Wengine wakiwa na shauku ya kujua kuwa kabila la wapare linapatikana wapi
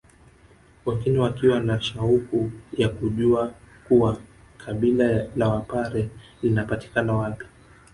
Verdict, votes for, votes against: rejected, 0, 2